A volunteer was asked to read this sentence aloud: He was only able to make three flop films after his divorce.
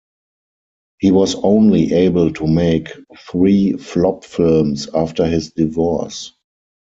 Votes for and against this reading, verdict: 2, 4, rejected